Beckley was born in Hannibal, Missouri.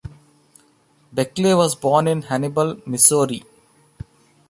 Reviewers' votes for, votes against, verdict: 2, 0, accepted